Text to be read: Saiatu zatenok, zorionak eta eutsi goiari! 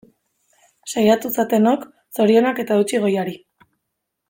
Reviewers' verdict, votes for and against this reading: accepted, 2, 0